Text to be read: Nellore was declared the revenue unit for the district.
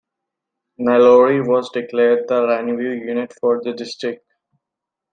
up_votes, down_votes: 0, 2